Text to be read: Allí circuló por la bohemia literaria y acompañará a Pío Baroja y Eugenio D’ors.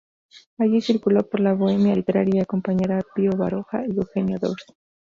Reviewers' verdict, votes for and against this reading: rejected, 0, 2